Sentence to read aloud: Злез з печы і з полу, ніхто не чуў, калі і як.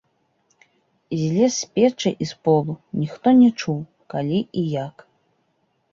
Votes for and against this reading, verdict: 2, 0, accepted